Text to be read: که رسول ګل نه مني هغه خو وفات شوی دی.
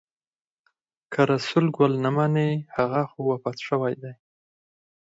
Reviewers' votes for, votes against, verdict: 2, 4, rejected